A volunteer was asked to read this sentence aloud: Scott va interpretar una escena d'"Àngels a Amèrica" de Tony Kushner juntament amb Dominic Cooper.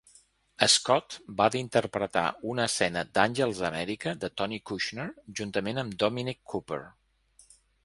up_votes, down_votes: 0, 2